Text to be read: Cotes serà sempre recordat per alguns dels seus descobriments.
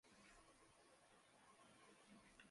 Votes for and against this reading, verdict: 0, 2, rejected